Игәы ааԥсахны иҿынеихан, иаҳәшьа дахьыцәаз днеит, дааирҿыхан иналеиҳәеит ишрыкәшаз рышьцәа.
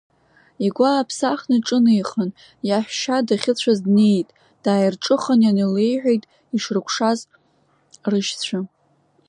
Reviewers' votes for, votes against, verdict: 0, 2, rejected